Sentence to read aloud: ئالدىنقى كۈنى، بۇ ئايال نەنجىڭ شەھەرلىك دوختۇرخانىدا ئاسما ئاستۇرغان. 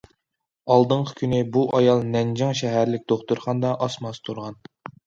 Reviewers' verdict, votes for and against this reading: accepted, 2, 0